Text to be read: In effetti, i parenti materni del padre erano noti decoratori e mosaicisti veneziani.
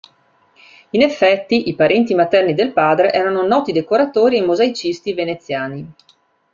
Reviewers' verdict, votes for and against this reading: accepted, 2, 0